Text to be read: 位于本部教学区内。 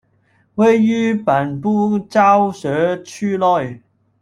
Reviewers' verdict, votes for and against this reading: rejected, 1, 2